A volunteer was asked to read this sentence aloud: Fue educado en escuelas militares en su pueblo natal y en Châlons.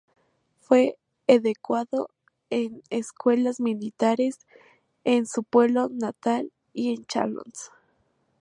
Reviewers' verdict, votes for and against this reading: rejected, 0, 4